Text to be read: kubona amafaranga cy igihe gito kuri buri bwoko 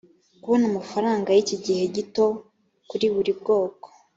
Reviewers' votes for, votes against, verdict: 2, 0, accepted